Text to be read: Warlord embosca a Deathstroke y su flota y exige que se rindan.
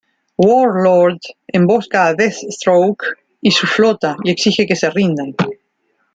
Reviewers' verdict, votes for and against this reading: rejected, 0, 2